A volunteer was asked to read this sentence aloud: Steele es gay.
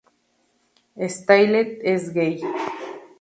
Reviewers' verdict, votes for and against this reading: accepted, 2, 0